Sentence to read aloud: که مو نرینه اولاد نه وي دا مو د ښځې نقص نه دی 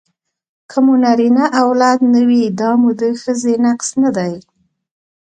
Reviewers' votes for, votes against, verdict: 2, 1, accepted